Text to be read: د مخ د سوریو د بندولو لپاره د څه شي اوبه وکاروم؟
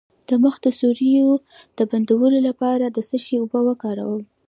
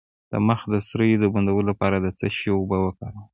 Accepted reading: first